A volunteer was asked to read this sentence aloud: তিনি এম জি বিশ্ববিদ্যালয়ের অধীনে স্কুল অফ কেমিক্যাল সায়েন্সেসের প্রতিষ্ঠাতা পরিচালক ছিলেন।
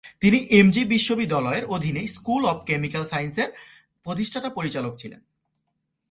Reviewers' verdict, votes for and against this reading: accepted, 2, 0